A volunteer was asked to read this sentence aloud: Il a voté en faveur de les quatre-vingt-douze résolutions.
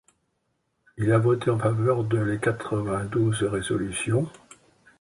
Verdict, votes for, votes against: accepted, 2, 1